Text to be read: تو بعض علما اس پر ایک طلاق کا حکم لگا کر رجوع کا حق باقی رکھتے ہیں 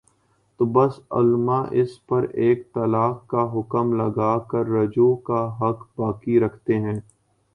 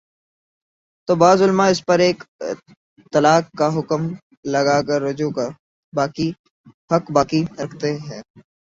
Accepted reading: first